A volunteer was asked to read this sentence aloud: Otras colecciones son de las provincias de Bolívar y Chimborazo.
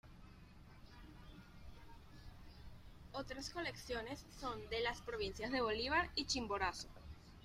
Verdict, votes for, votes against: accepted, 2, 1